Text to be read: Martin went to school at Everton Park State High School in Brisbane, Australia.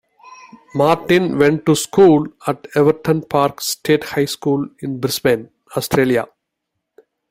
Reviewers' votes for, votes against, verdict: 2, 0, accepted